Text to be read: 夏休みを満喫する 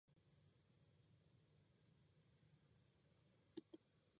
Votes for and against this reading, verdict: 0, 2, rejected